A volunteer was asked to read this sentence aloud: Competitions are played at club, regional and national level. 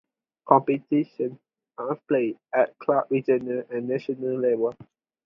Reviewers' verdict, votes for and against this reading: accepted, 2, 0